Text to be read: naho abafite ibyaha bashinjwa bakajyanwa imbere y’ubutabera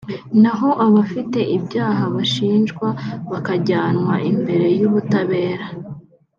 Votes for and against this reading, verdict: 2, 0, accepted